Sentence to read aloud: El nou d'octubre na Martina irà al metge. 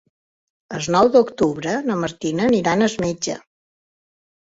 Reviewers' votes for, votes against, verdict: 2, 1, accepted